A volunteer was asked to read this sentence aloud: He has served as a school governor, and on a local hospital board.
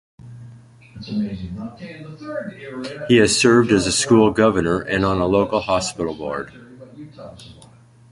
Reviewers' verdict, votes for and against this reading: accepted, 2, 0